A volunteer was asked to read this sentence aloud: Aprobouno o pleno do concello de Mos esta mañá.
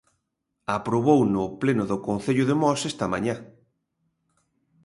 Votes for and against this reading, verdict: 2, 0, accepted